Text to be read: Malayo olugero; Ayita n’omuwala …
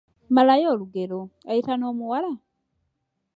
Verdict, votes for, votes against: rejected, 0, 2